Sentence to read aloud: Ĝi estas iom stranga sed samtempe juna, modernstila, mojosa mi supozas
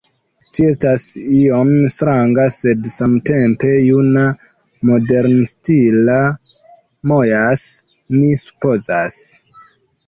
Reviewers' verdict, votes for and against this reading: rejected, 0, 2